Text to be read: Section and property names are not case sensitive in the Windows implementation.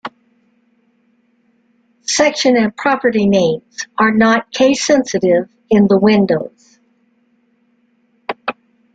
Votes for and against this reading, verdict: 0, 2, rejected